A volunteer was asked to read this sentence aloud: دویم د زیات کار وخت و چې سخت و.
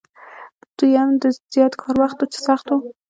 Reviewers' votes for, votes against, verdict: 1, 2, rejected